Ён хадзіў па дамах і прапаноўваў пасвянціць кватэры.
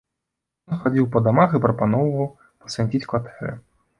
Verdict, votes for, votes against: rejected, 1, 2